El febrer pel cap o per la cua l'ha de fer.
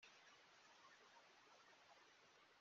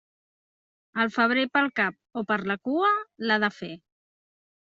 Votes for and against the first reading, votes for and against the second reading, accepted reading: 0, 2, 2, 0, second